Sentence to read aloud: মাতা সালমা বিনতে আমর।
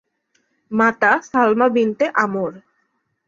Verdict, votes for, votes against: accepted, 8, 0